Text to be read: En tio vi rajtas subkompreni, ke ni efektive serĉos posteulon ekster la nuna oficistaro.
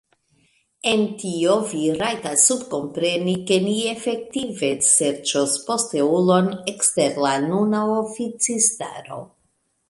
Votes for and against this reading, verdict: 1, 2, rejected